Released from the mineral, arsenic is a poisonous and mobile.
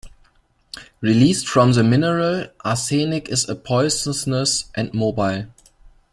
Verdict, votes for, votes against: rejected, 0, 2